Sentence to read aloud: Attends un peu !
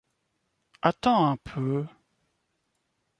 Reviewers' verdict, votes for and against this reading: accepted, 2, 0